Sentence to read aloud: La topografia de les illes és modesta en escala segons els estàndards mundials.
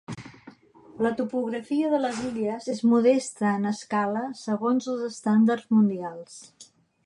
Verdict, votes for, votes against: accepted, 2, 0